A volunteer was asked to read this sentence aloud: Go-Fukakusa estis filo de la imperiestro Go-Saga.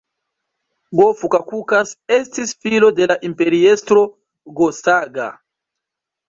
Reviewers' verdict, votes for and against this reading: rejected, 1, 2